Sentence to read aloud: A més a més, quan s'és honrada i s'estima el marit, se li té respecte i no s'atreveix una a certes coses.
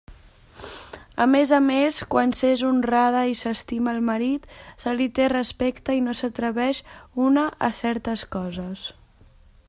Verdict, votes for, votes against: accepted, 3, 0